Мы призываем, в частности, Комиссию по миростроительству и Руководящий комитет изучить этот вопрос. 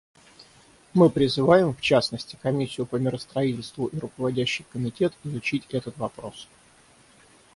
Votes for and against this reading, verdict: 6, 0, accepted